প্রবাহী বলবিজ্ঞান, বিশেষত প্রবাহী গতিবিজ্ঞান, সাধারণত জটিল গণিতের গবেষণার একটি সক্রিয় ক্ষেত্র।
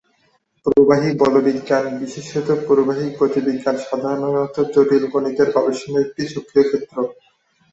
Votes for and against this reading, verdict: 2, 2, rejected